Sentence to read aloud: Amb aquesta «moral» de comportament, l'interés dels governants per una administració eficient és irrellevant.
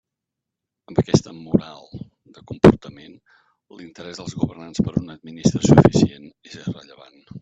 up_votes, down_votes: 2, 0